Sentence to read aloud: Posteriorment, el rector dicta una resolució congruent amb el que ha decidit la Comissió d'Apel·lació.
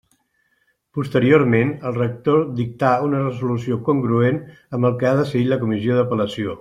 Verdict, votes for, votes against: rejected, 1, 2